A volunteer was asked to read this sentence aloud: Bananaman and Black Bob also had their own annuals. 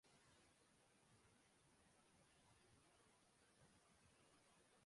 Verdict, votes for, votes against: rejected, 0, 2